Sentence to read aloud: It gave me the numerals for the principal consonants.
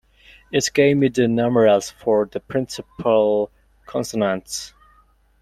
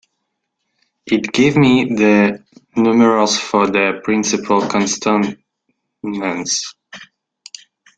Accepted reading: first